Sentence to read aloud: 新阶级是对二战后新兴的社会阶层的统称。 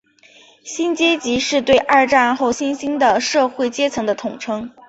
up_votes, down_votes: 2, 0